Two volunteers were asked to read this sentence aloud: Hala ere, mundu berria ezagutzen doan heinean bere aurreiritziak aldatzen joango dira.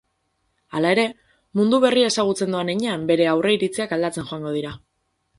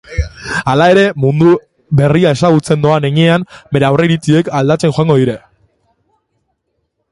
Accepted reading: first